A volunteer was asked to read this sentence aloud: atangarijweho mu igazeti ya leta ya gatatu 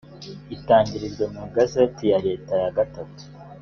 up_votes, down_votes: 1, 2